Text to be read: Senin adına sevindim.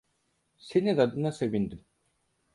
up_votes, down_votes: 4, 0